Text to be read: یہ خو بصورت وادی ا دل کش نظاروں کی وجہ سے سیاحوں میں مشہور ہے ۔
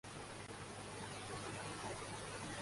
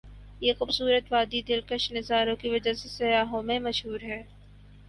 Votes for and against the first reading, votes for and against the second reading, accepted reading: 0, 2, 14, 0, second